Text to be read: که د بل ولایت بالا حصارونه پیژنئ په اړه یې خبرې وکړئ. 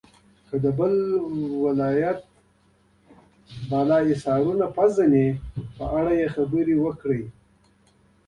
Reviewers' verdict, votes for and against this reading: accepted, 2, 0